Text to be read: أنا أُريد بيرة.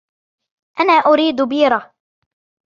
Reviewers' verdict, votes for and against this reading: accepted, 2, 0